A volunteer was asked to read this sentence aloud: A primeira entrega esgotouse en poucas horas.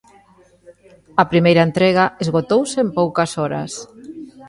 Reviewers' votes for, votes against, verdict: 1, 2, rejected